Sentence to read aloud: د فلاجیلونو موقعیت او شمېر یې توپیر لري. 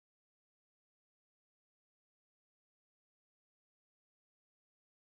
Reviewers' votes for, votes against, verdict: 0, 4, rejected